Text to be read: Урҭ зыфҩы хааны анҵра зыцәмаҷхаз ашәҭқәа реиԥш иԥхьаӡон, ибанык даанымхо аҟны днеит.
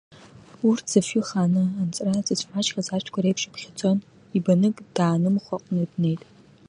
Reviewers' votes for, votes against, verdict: 2, 0, accepted